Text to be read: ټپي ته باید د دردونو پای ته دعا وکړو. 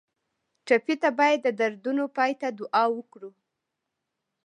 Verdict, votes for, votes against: rejected, 1, 2